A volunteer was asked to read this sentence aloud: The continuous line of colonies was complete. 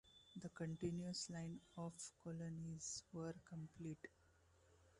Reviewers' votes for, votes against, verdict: 1, 2, rejected